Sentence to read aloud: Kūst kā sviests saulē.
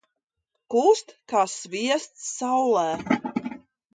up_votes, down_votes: 6, 0